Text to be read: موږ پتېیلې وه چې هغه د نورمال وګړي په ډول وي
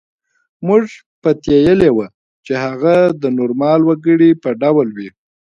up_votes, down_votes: 1, 2